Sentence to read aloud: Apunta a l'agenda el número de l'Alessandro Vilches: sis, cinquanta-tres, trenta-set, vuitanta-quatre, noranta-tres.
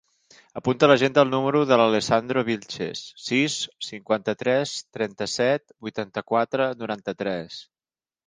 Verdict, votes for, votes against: accepted, 4, 1